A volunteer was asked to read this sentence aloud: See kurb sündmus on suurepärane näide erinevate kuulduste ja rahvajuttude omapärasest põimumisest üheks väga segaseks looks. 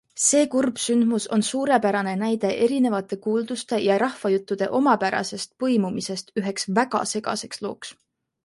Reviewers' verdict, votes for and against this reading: accepted, 2, 0